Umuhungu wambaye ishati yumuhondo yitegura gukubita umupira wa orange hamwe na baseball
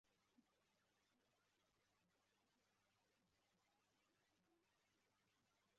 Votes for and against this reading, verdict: 0, 2, rejected